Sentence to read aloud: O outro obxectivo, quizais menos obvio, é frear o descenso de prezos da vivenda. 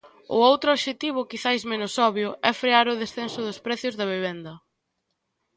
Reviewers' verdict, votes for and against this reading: rejected, 0, 2